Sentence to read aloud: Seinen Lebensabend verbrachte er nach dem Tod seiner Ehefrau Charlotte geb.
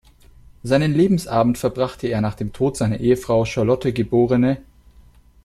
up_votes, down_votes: 1, 2